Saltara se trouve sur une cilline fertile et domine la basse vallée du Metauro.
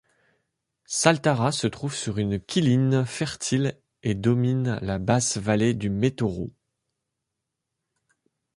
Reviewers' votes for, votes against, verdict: 0, 2, rejected